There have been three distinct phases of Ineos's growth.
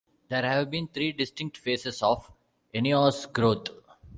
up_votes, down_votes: 0, 2